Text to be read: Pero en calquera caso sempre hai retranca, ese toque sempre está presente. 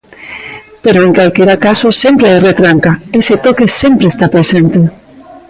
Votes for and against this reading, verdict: 1, 2, rejected